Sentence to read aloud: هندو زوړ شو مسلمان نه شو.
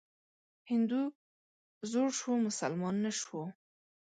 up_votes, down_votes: 1, 2